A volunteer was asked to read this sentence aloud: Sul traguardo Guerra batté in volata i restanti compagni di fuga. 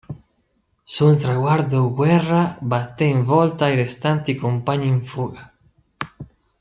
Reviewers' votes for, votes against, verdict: 1, 2, rejected